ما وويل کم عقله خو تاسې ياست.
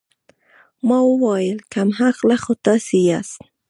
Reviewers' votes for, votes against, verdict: 1, 2, rejected